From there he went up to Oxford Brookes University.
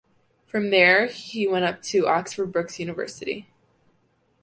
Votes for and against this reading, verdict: 2, 0, accepted